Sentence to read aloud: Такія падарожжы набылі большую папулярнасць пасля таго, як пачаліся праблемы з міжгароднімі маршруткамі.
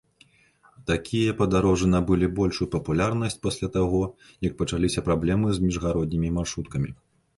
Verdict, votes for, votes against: accepted, 2, 0